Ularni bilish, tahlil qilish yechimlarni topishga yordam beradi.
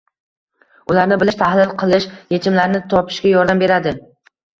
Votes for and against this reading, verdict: 2, 0, accepted